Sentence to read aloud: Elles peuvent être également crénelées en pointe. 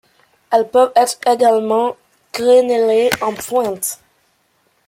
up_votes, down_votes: 1, 2